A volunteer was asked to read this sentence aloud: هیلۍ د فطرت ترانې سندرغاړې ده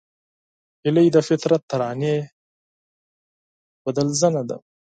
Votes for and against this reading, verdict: 0, 4, rejected